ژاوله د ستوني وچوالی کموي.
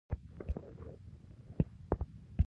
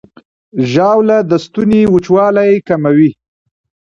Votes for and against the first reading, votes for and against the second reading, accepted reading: 0, 2, 2, 0, second